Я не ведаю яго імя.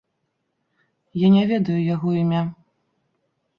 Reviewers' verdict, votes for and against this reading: accepted, 2, 0